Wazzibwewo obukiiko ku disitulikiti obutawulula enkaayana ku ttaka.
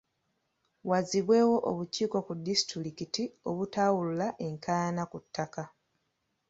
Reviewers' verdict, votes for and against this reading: accepted, 2, 0